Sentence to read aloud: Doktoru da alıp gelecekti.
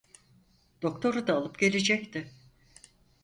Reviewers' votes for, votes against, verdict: 4, 0, accepted